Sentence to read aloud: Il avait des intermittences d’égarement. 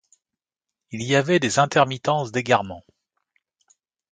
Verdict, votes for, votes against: rejected, 1, 2